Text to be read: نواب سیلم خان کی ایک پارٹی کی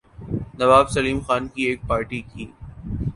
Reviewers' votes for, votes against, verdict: 2, 0, accepted